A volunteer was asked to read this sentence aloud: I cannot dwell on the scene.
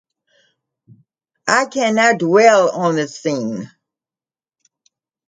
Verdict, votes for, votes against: accepted, 2, 0